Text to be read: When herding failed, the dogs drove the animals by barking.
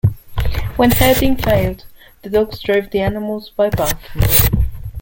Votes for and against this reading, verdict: 0, 2, rejected